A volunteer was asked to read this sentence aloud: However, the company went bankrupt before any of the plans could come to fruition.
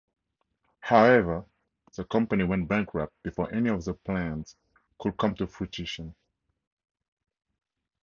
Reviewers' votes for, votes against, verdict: 4, 2, accepted